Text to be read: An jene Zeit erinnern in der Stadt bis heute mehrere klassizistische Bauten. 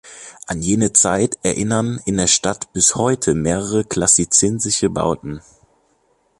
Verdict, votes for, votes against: rejected, 0, 2